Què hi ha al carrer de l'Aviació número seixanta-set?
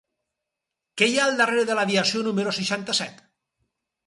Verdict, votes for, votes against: rejected, 0, 4